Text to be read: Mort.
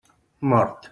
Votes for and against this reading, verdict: 3, 0, accepted